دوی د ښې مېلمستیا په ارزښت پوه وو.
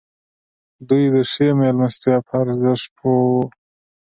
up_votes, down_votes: 2, 0